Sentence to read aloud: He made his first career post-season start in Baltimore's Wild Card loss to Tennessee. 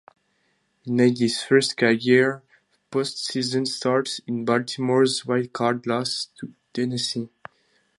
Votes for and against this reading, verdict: 0, 2, rejected